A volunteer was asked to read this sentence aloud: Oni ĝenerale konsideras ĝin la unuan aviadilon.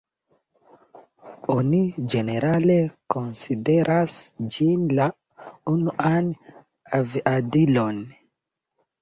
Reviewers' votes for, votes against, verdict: 2, 0, accepted